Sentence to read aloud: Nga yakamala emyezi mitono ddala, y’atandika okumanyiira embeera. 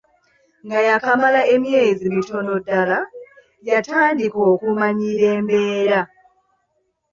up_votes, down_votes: 2, 0